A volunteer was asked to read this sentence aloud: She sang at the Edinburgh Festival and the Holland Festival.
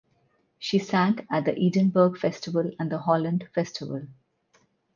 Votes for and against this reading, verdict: 6, 0, accepted